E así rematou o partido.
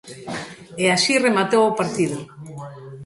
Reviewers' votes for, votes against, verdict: 0, 2, rejected